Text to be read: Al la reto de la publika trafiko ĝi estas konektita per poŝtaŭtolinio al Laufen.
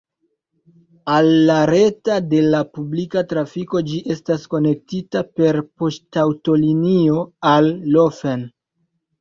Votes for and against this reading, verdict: 1, 2, rejected